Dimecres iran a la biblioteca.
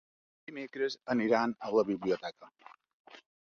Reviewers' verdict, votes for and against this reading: rejected, 1, 2